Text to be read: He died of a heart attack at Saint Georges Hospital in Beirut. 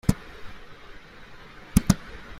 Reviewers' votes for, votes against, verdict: 0, 2, rejected